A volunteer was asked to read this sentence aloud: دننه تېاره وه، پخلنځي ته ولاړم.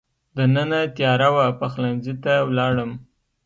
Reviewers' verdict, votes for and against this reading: accepted, 2, 0